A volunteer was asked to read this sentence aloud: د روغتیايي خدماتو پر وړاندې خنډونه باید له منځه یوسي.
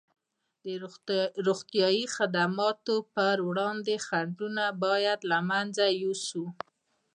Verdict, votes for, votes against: rejected, 0, 2